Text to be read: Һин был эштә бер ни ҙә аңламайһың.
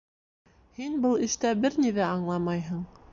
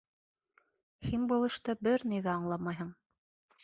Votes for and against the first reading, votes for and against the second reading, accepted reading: 2, 0, 0, 2, first